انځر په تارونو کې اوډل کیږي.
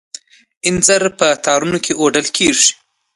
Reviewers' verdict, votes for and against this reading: accepted, 2, 0